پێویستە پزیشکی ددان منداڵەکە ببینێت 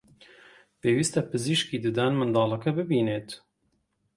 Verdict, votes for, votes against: accepted, 2, 0